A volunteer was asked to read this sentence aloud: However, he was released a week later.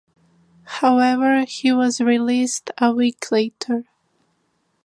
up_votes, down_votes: 2, 0